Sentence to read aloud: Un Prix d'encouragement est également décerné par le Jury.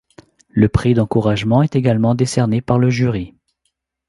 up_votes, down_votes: 1, 2